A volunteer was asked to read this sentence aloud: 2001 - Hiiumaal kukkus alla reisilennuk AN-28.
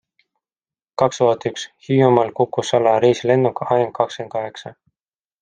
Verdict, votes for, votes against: rejected, 0, 2